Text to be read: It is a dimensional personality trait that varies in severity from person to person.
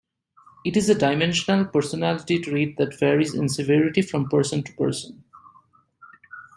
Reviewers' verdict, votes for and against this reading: accepted, 2, 0